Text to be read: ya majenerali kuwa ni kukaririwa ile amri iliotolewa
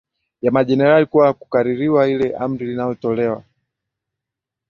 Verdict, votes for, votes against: accepted, 2, 1